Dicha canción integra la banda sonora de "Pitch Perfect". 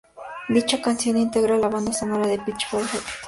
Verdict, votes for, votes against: rejected, 0, 2